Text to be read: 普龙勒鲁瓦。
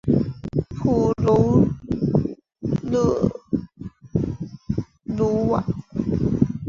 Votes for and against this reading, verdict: 2, 0, accepted